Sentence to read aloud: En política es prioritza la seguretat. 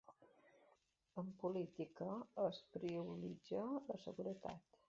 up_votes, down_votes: 2, 1